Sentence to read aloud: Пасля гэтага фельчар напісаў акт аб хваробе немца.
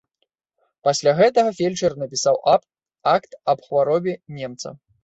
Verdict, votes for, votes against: rejected, 0, 2